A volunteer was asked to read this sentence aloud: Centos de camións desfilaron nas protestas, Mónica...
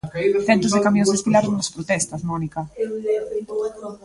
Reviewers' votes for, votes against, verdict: 0, 2, rejected